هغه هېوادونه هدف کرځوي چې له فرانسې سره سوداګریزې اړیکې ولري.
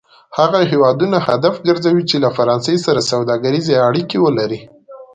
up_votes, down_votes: 2, 0